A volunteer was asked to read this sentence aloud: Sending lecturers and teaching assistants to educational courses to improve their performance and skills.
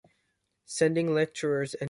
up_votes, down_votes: 1, 2